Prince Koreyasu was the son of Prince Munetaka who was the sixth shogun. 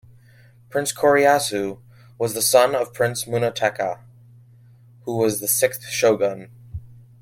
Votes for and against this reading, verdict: 2, 0, accepted